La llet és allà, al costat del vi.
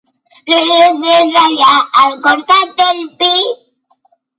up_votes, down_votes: 3, 2